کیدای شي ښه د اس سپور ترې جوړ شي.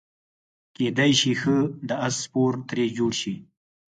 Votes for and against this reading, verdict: 4, 0, accepted